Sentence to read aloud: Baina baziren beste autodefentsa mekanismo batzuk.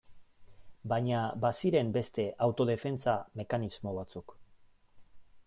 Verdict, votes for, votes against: accepted, 2, 1